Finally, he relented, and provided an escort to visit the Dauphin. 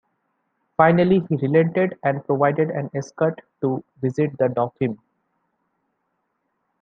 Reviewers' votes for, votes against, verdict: 2, 1, accepted